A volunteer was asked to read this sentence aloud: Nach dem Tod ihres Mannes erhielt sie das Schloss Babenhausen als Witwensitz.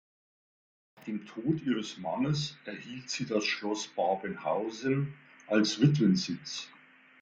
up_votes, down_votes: 1, 2